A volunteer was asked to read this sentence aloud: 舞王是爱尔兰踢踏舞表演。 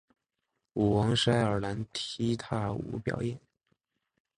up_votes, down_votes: 4, 0